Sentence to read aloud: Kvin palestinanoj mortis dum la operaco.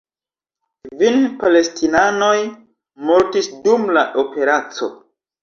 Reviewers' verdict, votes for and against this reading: rejected, 1, 2